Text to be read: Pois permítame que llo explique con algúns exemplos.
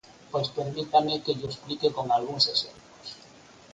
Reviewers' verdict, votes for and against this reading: accepted, 4, 0